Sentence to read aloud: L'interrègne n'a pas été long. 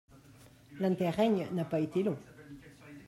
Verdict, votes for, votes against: rejected, 1, 2